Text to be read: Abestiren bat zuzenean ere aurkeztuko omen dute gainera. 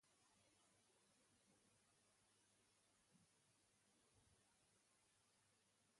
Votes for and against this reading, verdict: 0, 4, rejected